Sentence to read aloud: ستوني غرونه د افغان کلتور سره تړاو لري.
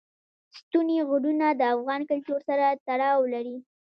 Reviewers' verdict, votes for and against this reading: accepted, 2, 0